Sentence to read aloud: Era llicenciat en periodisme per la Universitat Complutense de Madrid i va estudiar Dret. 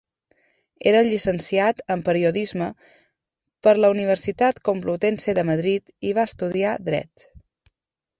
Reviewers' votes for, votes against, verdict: 1, 2, rejected